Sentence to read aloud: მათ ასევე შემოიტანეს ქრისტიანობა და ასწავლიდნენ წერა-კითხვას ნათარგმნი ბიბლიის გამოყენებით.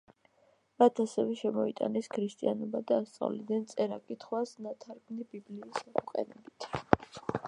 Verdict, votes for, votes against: rejected, 0, 2